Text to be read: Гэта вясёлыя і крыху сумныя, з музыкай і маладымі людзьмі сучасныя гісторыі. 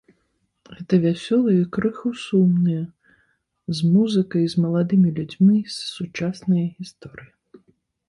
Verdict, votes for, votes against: rejected, 0, 2